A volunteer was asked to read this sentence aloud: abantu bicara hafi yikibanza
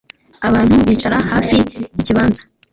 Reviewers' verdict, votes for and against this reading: accepted, 2, 1